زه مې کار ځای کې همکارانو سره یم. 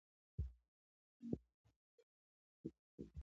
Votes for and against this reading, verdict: 0, 2, rejected